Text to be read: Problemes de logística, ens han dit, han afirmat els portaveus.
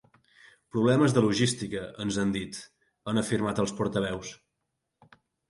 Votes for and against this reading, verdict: 5, 0, accepted